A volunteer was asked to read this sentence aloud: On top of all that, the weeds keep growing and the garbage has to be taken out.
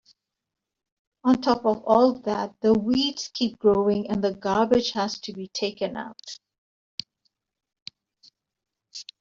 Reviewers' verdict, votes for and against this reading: accepted, 2, 1